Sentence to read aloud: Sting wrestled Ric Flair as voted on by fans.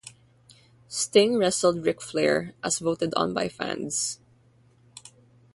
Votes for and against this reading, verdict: 0, 3, rejected